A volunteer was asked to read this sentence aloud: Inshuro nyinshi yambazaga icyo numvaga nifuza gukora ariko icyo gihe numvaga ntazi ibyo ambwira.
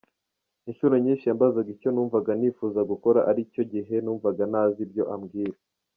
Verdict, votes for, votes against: rejected, 0, 2